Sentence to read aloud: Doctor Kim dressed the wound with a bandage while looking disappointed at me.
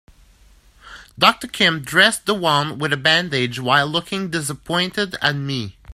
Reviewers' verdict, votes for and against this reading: rejected, 0, 2